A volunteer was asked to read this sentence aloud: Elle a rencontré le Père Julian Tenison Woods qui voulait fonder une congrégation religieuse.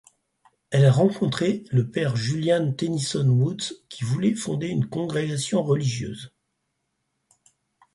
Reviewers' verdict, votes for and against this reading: accepted, 4, 0